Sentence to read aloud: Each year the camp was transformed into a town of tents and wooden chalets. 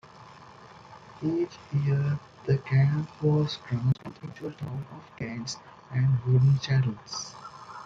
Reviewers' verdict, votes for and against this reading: rejected, 0, 2